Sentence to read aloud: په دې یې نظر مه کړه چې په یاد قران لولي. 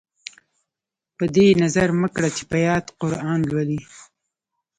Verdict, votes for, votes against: accepted, 2, 0